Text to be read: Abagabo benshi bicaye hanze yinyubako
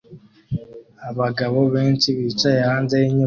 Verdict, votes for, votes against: rejected, 1, 2